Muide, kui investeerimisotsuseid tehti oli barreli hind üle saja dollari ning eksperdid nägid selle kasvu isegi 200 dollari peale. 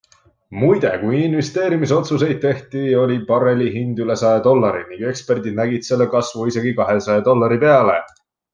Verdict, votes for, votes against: rejected, 0, 2